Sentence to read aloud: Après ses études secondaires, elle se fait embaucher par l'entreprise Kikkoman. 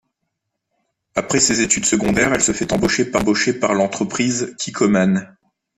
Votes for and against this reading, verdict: 0, 2, rejected